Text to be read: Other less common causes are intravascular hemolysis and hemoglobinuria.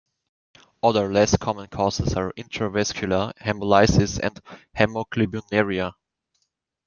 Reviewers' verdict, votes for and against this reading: accepted, 2, 0